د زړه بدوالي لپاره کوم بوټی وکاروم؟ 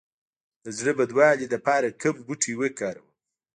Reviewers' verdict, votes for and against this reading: rejected, 1, 2